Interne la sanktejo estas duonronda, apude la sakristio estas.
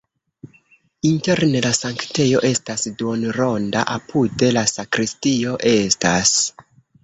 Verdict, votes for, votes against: rejected, 1, 2